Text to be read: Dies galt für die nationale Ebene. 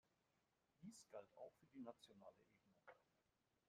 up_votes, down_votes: 0, 2